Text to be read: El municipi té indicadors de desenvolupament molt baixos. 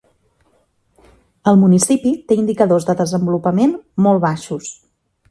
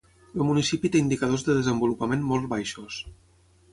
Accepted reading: first